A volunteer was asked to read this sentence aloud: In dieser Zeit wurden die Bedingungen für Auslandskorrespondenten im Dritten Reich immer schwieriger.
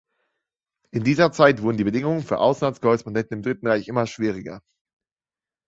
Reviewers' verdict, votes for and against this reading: rejected, 0, 2